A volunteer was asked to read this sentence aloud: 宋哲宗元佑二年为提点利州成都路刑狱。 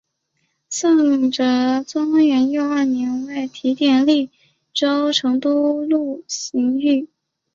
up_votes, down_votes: 2, 1